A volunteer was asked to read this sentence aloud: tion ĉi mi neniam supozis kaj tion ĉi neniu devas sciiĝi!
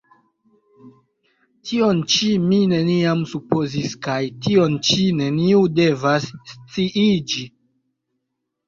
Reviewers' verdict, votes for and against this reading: rejected, 2, 2